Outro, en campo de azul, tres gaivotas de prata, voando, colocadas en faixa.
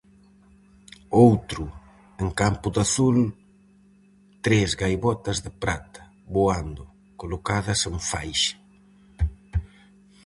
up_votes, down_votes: 2, 2